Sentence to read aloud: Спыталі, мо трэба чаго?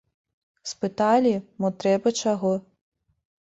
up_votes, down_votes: 2, 0